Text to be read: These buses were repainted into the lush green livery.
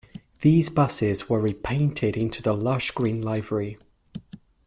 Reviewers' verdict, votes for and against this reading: rejected, 0, 2